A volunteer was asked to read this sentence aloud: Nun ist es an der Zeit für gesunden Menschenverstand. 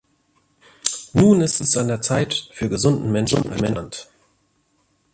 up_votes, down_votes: 0, 2